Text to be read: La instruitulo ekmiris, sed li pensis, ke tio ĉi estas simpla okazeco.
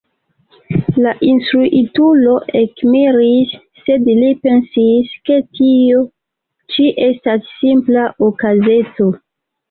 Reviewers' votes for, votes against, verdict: 1, 2, rejected